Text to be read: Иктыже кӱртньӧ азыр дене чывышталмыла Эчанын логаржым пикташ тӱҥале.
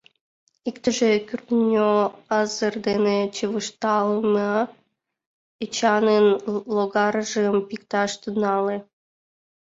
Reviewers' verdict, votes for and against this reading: accepted, 2, 1